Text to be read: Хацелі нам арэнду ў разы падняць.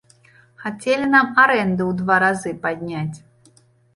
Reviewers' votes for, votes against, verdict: 0, 2, rejected